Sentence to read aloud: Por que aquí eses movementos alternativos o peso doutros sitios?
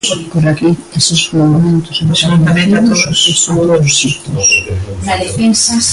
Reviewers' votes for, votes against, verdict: 0, 2, rejected